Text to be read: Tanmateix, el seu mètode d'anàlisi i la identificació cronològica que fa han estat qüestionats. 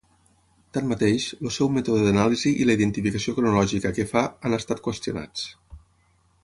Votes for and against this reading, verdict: 0, 6, rejected